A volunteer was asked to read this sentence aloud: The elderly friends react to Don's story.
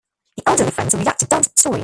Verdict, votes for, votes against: rejected, 0, 2